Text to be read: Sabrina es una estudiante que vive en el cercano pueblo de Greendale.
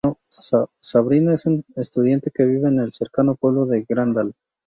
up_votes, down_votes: 0, 2